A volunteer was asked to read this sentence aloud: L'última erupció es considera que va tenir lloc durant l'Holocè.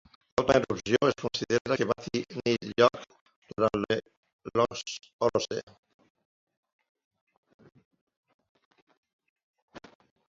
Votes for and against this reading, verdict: 0, 2, rejected